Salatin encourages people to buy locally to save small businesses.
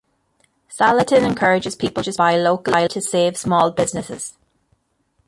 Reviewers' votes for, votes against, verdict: 1, 2, rejected